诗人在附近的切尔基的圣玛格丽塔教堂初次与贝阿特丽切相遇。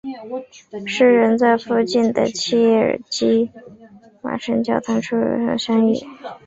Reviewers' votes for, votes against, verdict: 5, 2, accepted